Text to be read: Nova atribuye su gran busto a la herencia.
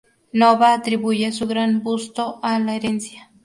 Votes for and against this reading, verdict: 0, 2, rejected